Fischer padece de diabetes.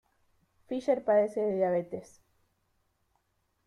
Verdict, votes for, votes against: accepted, 2, 1